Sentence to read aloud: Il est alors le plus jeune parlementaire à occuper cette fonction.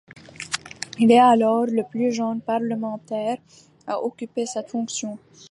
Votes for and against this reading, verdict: 3, 2, accepted